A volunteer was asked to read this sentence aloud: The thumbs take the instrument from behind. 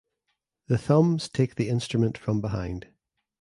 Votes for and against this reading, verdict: 2, 0, accepted